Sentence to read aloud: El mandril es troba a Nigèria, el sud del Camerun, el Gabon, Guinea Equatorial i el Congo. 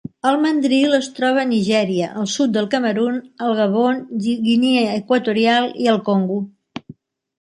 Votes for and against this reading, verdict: 0, 2, rejected